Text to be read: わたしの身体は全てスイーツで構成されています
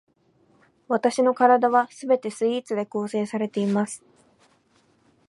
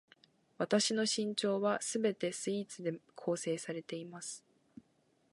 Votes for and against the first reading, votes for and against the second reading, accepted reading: 2, 0, 13, 14, first